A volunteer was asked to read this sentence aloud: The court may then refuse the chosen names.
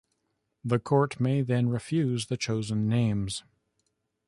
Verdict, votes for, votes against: accepted, 2, 0